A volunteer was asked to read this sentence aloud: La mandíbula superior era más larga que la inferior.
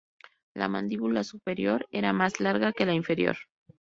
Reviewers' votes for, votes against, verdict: 2, 0, accepted